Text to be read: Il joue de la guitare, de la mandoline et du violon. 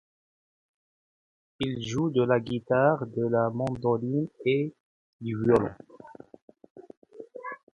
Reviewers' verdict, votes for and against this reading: accepted, 2, 0